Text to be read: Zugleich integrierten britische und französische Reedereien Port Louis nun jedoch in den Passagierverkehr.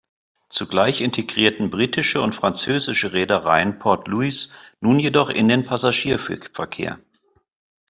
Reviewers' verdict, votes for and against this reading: accepted, 2, 1